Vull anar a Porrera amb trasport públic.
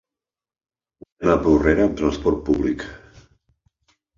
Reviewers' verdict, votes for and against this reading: rejected, 0, 2